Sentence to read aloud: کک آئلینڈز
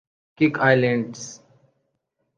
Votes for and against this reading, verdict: 2, 0, accepted